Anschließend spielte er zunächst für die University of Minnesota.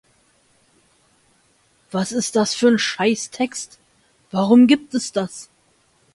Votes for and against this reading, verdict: 0, 2, rejected